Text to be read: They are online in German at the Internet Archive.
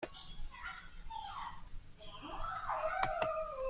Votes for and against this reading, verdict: 0, 2, rejected